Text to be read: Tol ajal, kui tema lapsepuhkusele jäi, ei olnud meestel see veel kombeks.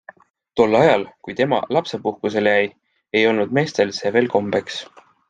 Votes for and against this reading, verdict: 2, 0, accepted